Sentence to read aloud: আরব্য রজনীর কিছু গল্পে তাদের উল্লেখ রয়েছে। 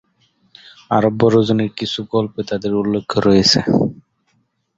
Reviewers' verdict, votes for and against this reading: rejected, 1, 4